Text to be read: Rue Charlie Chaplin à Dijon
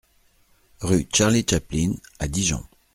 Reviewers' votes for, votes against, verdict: 2, 0, accepted